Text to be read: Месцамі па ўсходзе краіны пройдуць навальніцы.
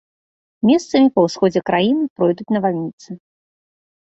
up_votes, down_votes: 2, 0